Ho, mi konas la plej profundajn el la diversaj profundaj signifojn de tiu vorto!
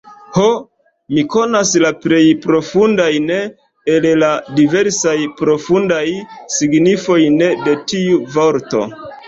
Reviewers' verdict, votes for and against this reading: rejected, 1, 3